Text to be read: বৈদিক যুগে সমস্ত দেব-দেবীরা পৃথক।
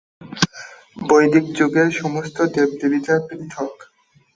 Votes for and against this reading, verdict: 3, 5, rejected